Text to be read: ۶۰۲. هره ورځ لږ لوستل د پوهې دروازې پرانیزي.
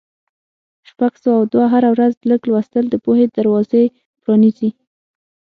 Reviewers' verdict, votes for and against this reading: rejected, 0, 2